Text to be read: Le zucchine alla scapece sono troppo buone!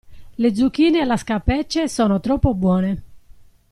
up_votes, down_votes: 2, 0